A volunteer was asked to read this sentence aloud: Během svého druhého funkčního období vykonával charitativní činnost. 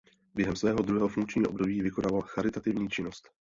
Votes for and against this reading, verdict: 0, 2, rejected